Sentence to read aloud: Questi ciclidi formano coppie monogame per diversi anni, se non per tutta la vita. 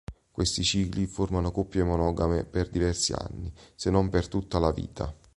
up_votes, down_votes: 0, 4